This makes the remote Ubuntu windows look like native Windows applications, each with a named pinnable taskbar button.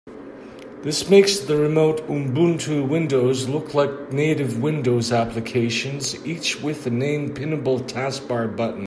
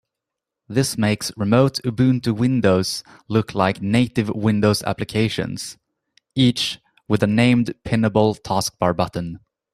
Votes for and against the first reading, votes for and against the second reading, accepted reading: 3, 0, 0, 3, first